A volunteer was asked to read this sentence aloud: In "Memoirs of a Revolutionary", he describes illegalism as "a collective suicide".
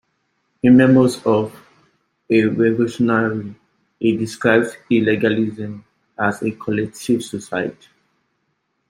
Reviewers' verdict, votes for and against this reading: rejected, 1, 2